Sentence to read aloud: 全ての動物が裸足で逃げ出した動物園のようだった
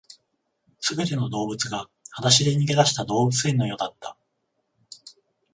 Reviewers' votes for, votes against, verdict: 14, 0, accepted